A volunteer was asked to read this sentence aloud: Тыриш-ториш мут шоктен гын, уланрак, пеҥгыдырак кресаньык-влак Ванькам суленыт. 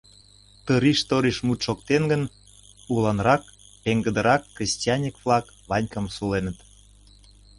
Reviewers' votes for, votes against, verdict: 1, 2, rejected